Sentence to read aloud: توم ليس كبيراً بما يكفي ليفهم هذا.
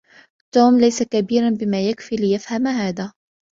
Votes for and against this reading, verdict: 2, 0, accepted